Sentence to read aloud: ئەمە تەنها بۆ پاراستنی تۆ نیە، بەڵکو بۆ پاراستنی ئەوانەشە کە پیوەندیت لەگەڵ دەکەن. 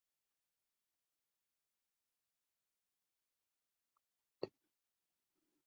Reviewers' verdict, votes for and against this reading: rejected, 0, 2